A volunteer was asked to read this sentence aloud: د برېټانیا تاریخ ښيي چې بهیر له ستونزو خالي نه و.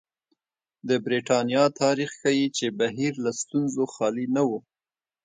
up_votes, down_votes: 2, 0